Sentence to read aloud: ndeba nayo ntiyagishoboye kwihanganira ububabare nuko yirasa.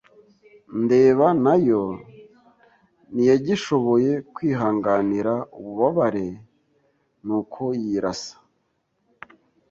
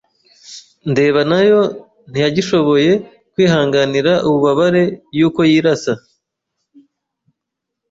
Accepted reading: first